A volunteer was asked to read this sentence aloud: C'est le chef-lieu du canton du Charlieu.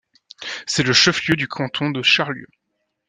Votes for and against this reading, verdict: 1, 2, rejected